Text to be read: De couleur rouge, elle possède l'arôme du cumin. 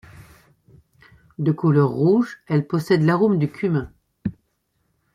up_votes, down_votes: 2, 0